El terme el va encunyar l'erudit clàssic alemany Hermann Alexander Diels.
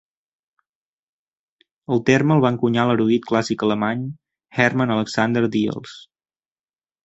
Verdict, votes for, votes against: accepted, 2, 0